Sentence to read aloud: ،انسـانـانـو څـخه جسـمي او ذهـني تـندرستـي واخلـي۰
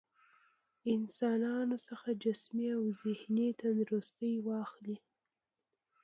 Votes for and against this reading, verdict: 0, 2, rejected